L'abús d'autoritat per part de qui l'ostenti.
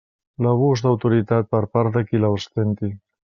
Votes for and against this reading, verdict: 0, 2, rejected